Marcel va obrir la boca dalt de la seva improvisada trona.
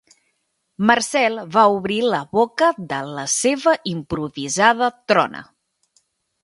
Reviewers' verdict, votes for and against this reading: rejected, 0, 2